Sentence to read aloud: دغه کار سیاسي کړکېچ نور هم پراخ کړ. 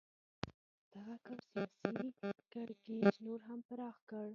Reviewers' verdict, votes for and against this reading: rejected, 1, 2